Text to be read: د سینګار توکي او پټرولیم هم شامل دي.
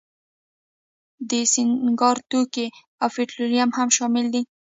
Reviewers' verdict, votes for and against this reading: rejected, 1, 2